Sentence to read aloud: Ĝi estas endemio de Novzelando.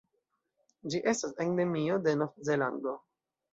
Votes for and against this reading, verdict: 1, 2, rejected